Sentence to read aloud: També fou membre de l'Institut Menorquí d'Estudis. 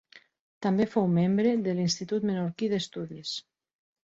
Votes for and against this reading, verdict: 3, 0, accepted